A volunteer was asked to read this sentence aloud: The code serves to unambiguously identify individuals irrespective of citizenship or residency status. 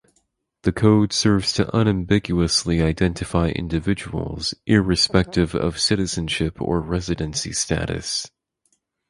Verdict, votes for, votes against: accepted, 4, 0